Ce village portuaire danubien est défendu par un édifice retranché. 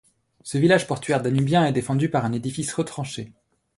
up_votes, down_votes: 2, 0